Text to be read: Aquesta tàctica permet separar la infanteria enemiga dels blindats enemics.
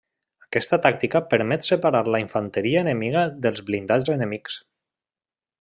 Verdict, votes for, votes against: rejected, 1, 2